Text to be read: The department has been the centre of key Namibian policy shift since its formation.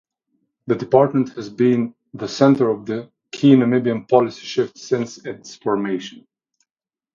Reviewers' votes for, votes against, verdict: 0, 2, rejected